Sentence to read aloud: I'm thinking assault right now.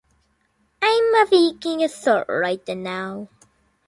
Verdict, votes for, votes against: rejected, 2, 3